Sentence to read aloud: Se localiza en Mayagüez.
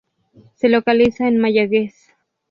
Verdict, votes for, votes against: accepted, 2, 0